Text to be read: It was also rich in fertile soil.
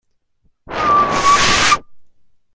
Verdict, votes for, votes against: rejected, 0, 2